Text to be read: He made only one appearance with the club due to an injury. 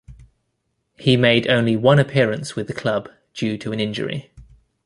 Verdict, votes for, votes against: accepted, 2, 0